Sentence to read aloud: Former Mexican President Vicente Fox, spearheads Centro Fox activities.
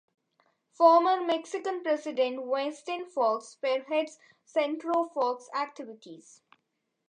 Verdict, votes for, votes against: rejected, 0, 2